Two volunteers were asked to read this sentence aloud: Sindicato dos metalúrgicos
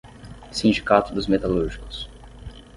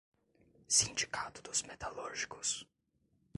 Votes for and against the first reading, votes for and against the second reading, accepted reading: 6, 0, 0, 2, first